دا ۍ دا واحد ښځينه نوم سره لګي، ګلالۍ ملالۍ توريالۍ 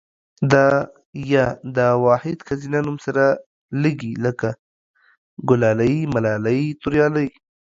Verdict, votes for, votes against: rejected, 0, 2